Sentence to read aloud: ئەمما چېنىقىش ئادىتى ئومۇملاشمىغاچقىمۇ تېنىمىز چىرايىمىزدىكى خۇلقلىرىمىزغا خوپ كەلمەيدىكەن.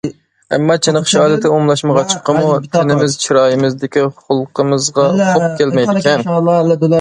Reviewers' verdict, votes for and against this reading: rejected, 1, 2